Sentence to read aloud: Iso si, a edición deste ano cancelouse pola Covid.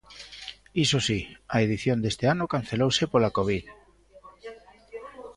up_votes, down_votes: 2, 0